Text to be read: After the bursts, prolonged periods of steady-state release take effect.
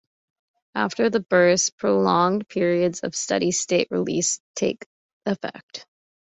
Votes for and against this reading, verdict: 2, 0, accepted